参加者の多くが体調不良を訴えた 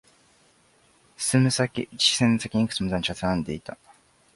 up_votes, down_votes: 0, 4